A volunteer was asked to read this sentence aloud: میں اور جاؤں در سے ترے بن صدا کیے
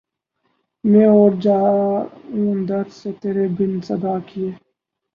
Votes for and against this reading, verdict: 2, 0, accepted